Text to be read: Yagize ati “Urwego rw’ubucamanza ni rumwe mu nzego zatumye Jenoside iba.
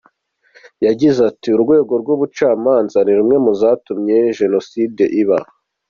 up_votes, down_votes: 2, 0